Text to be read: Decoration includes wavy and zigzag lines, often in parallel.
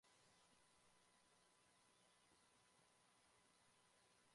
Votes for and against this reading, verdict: 0, 2, rejected